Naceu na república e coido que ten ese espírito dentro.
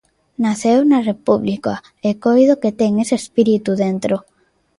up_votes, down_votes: 2, 0